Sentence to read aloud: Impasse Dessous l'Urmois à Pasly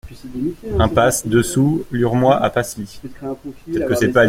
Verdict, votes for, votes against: rejected, 1, 2